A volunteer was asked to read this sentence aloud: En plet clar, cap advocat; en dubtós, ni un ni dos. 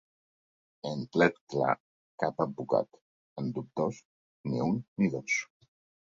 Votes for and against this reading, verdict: 2, 0, accepted